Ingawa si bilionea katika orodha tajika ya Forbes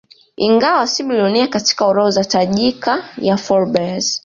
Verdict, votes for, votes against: accepted, 2, 1